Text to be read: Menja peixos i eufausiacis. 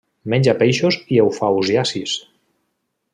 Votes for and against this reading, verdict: 2, 0, accepted